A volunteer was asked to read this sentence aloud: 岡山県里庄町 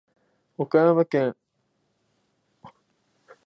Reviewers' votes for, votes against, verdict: 0, 2, rejected